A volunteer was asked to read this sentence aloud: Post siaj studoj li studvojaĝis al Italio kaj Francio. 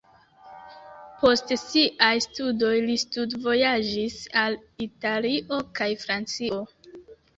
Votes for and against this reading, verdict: 1, 2, rejected